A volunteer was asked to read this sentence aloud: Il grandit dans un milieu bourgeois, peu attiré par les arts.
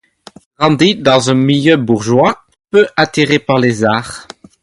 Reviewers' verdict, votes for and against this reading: accepted, 2, 0